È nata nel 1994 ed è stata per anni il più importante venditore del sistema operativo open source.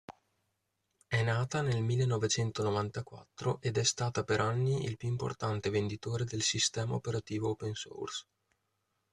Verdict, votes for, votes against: rejected, 0, 2